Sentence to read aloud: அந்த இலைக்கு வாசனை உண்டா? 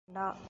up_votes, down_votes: 0, 2